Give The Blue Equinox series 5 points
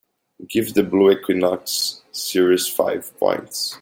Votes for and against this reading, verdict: 0, 2, rejected